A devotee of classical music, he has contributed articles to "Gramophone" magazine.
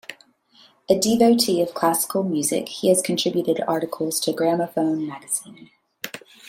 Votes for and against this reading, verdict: 2, 0, accepted